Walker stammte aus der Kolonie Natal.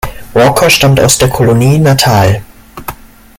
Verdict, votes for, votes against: rejected, 1, 2